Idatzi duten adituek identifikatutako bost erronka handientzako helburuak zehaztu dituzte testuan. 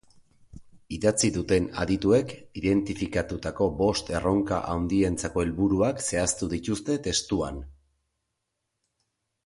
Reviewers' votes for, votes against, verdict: 1, 2, rejected